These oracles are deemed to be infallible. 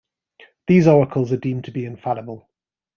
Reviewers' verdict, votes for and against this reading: accepted, 3, 0